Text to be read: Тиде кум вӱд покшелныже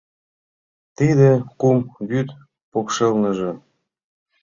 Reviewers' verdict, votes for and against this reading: accepted, 2, 0